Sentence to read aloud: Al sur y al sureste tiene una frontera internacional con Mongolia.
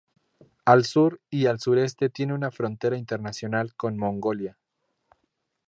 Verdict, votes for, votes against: accepted, 2, 0